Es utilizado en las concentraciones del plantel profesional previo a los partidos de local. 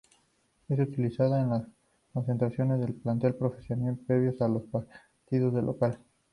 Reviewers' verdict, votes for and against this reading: accepted, 2, 0